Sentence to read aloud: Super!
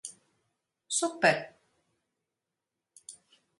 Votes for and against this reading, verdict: 4, 0, accepted